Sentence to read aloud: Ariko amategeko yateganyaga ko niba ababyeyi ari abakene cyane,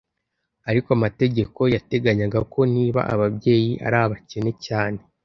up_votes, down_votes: 2, 0